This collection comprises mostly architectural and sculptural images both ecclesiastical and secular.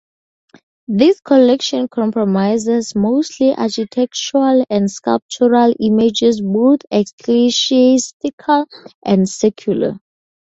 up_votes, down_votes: 4, 0